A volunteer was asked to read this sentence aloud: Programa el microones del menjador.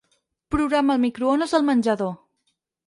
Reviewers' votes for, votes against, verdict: 2, 4, rejected